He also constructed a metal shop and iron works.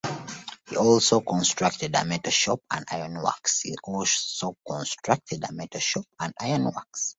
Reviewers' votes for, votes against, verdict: 0, 2, rejected